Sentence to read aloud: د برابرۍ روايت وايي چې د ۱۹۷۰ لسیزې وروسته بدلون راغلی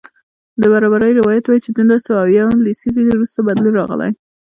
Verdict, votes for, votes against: rejected, 0, 2